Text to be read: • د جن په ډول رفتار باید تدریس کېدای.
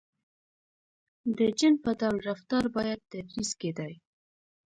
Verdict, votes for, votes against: rejected, 0, 2